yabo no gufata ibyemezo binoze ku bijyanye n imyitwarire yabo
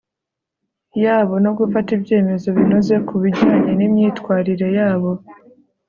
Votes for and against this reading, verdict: 3, 0, accepted